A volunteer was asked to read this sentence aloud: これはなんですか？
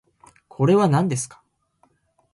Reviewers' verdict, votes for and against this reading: accepted, 2, 0